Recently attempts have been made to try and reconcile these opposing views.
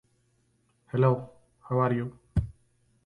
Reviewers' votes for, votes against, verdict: 0, 2, rejected